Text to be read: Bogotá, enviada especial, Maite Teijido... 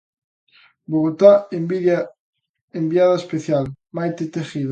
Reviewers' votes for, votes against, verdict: 0, 2, rejected